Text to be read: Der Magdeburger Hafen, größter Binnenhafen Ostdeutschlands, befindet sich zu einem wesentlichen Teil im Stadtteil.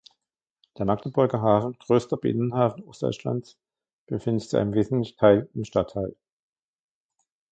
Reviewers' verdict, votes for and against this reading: rejected, 1, 2